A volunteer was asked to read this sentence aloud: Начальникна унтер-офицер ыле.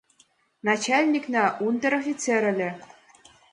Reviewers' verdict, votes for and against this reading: rejected, 1, 2